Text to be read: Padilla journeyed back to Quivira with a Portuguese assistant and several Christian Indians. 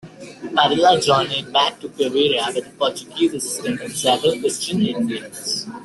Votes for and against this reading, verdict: 0, 2, rejected